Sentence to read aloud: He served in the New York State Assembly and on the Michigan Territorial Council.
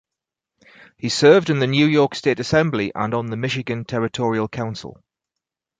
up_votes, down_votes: 2, 4